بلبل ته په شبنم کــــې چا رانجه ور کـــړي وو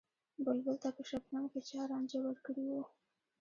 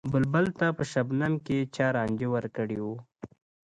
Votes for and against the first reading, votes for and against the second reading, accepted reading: 1, 2, 2, 1, second